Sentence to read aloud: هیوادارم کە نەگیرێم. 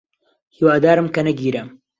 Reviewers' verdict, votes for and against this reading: accepted, 2, 1